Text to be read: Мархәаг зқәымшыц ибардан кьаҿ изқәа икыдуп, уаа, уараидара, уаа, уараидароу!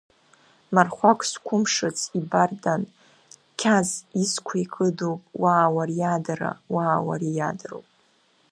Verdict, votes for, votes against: rejected, 0, 2